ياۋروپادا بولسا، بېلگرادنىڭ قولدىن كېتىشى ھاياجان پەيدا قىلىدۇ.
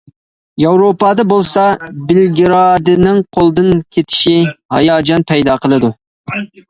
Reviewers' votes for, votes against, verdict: 0, 2, rejected